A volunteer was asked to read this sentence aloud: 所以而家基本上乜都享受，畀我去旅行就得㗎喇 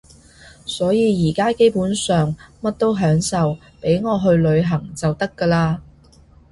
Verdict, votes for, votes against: accepted, 2, 0